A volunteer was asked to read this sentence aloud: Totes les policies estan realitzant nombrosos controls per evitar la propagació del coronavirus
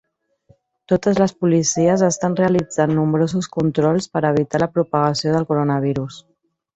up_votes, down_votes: 0, 2